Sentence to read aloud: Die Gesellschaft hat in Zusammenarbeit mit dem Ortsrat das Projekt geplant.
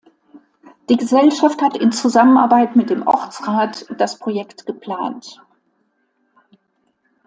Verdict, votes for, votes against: accepted, 2, 0